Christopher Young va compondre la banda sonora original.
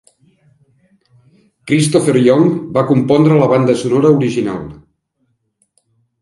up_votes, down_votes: 3, 0